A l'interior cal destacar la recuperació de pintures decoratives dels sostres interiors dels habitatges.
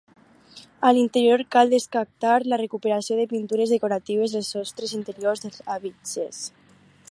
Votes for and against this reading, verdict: 2, 4, rejected